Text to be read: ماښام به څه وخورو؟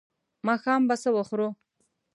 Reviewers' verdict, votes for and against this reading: accepted, 2, 0